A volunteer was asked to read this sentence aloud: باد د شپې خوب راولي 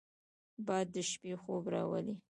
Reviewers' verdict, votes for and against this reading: rejected, 0, 2